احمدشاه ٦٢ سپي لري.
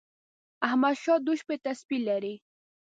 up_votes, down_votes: 0, 2